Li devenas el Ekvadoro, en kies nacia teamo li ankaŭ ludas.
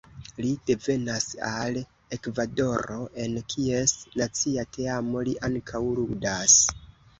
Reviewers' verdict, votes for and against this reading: rejected, 0, 2